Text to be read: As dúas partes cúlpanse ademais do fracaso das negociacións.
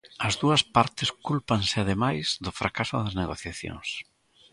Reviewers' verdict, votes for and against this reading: accepted, 2, 0